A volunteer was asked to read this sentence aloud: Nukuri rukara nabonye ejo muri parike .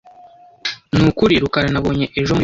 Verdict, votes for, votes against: rejected, 0, 2